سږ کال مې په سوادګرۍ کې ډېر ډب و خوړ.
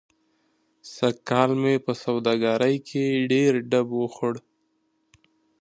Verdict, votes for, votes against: accepted, 2, 0